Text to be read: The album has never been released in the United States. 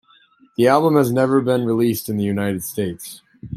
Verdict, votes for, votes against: accepted, 2, 0